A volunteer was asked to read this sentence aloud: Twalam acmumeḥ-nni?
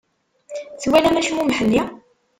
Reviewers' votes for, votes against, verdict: 1, 2, rejected